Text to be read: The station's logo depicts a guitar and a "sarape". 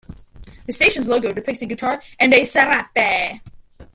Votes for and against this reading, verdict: 2, 0, accepted